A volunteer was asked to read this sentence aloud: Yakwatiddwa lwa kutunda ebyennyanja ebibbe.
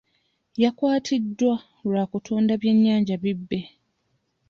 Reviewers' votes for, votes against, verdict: 1, 2, rejected